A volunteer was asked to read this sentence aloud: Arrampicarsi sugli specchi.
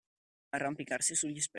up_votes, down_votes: 0, 2